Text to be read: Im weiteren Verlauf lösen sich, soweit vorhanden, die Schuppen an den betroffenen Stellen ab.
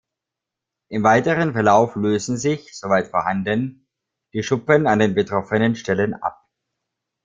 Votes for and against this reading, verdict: 2, 0, accepted